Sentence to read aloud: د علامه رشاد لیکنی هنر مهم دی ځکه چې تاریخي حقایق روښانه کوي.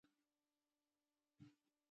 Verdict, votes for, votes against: rejected, 0, 2